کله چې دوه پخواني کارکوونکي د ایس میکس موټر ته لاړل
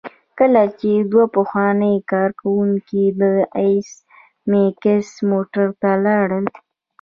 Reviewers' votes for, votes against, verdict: 1, 2, rejected